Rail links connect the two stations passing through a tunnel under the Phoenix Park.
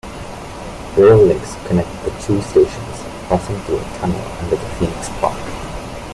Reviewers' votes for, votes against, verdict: 2, 0, accepted